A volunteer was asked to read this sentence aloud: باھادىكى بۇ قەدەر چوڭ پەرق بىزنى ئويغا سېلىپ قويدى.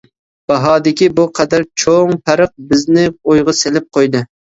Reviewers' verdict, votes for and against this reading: accepted, 2, 0